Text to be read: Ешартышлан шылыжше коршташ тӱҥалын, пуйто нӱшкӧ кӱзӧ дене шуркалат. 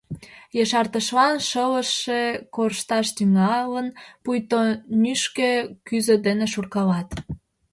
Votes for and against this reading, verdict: 1, 2, rejected